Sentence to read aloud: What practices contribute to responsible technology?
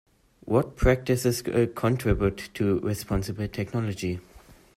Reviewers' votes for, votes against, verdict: 1, 2, rejected